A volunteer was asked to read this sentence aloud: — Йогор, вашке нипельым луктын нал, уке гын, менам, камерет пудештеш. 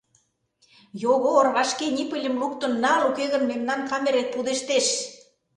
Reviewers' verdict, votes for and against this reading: rejected, 0, 2